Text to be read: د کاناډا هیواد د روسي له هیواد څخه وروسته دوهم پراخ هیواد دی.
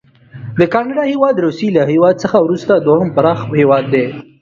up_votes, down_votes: 2, 0